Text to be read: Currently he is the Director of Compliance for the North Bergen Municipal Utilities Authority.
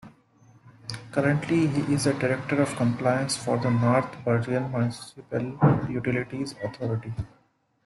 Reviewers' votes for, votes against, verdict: 2, 0, accepted